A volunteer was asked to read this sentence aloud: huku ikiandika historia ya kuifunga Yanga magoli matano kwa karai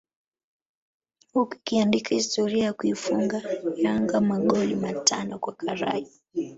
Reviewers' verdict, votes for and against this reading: rejected, 0, 2